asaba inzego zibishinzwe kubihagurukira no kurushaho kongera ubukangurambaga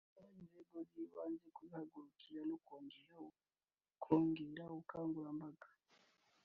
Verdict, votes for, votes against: rejected, 1, 3